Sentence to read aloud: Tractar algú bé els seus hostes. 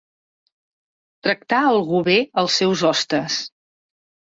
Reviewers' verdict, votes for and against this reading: accepted, 3, 0